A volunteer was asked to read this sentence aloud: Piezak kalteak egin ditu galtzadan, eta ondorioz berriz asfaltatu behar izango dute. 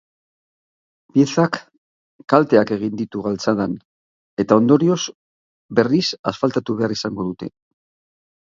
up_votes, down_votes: 6, 0